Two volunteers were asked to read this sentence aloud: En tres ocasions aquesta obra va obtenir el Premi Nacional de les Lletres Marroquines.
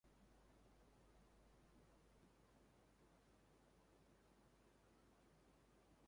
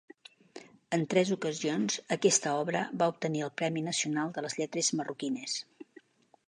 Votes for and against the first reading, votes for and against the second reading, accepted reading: 2, 4, 3, 0, second